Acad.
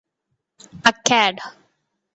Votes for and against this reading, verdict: 2, 0, accepted